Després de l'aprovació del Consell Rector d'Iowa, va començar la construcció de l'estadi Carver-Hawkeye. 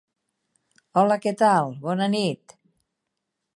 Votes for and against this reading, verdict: 0, 6, rejected